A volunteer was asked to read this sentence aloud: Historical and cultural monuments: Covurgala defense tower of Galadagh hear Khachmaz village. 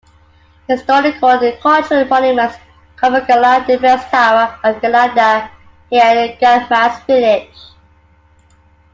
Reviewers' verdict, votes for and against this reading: rejected, 0, 2